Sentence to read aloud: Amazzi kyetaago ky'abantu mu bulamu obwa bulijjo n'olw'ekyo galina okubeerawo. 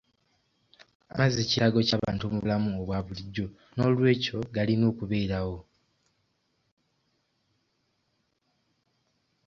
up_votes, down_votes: 1, 2